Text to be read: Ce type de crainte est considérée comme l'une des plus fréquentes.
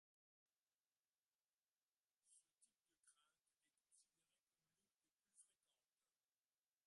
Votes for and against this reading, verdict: 0, 2, rejected